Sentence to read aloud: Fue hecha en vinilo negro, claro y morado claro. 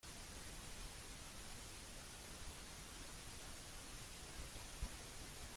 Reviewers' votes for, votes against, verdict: 0, 2, rejected